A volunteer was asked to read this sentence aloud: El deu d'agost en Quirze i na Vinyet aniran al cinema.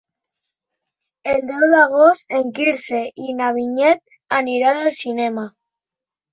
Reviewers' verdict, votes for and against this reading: accepted, 3, 0